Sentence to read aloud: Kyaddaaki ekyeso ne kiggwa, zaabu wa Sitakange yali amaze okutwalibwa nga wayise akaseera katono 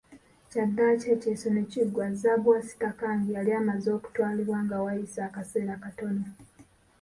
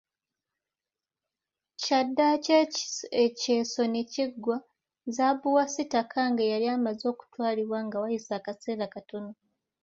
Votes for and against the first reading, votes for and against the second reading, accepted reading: 1, 2, 2, 0, second